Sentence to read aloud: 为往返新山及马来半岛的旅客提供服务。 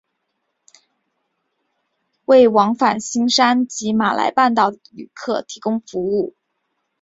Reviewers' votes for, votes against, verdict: 1, 2, rejected